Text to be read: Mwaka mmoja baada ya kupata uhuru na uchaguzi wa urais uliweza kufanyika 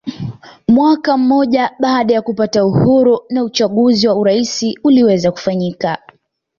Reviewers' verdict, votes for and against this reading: accepted, 2, 0